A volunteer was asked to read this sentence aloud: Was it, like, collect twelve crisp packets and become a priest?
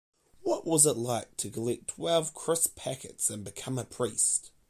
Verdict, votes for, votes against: rejected, 0, 2